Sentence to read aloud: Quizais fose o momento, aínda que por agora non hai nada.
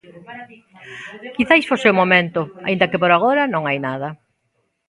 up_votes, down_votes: 0, 2